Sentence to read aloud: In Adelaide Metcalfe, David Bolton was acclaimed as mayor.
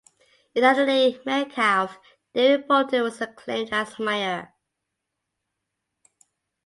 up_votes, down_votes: 2, 0